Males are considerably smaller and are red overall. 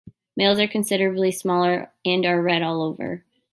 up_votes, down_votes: 0, 2